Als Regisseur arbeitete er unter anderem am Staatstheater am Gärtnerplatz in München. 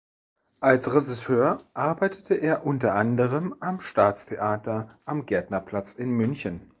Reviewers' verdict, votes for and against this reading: rejected, 1, 2